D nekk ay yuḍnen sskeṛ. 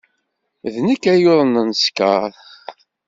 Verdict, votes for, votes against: accepted, 2, 0